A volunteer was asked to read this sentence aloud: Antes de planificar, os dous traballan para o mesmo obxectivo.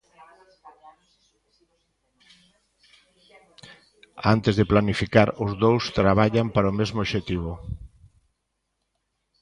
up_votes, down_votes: 1, 2